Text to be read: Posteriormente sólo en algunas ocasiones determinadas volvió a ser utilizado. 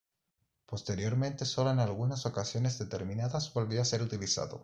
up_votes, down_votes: 2, 0